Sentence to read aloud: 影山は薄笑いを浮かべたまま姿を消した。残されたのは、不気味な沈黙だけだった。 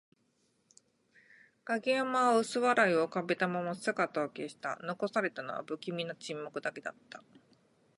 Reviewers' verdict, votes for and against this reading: accepted, 6, 0